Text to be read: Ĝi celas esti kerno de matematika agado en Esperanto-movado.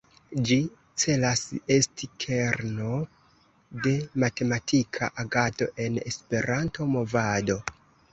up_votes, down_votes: 1, 2